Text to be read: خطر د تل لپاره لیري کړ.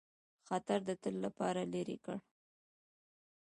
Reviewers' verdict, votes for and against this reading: rejected, 1, 2